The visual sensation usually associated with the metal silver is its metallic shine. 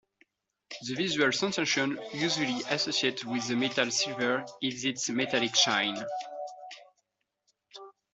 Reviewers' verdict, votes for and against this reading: accepted, 2, 1